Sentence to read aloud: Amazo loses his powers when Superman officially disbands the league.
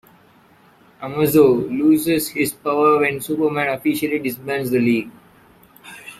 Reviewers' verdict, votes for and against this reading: accepted, 2, 1